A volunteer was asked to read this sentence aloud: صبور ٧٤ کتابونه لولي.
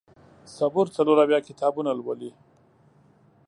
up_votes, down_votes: 0, 2